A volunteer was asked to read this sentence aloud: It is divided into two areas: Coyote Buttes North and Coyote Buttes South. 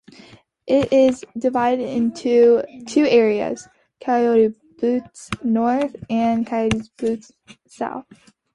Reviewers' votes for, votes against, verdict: 2, 0, accepted